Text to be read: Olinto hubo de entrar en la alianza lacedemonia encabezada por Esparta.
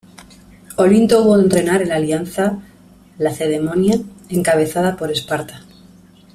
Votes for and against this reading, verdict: 0, 2, rejected